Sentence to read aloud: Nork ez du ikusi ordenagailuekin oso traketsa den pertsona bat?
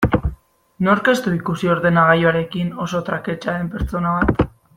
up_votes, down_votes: 1, 2